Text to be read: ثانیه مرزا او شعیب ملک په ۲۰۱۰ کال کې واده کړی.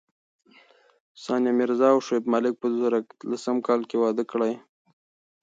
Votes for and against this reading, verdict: 0, 2, rejected